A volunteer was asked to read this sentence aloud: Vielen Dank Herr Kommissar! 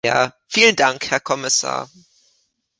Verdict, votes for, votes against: rejected, 1, 2